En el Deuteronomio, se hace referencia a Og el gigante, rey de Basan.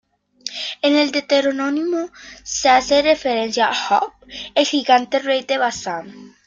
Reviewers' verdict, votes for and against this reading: rejected, 0, 2